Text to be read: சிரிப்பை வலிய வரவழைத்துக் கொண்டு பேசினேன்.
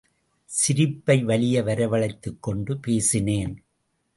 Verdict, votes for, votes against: accepted, 2, 0